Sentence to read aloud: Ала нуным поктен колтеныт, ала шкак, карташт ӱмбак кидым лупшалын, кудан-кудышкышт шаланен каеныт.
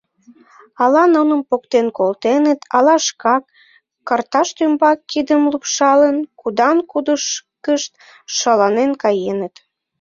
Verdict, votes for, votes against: rejected, 0, 2